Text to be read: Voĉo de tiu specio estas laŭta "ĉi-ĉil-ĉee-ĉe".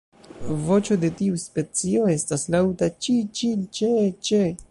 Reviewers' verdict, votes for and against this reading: rejected, 0, 2